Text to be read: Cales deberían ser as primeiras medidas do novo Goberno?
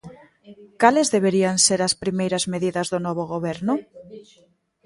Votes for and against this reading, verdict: 2, 1, accepted